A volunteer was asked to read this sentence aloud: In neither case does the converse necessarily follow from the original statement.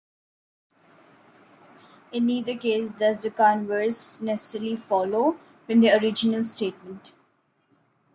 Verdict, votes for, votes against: accepted, 2, 0